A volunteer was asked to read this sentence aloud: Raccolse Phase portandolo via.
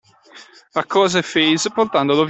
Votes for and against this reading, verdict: 0, 2, rejected